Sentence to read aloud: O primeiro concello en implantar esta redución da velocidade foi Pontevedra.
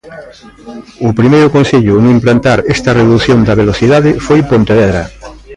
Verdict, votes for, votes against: rejected, 0, 2